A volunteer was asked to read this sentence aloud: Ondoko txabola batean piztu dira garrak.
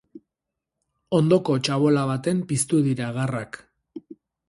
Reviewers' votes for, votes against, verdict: 2, 2, rejected